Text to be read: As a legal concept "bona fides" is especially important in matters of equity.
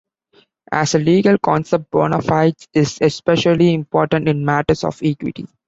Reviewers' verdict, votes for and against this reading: rejected, 1, 2